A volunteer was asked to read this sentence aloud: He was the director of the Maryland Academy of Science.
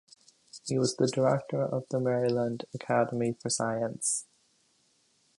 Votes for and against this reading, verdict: 2, 0, accepted